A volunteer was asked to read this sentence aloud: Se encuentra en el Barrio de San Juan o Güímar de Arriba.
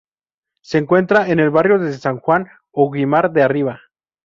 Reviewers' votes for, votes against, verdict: 0, 2, rejected